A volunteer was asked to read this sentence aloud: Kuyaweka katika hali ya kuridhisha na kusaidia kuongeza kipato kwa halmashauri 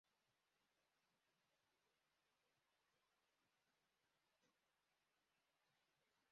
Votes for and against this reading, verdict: 1, 4, rejected